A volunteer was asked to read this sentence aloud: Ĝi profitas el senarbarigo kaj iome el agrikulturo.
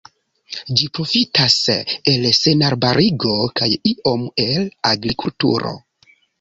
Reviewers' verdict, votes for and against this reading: rejected, 1, 2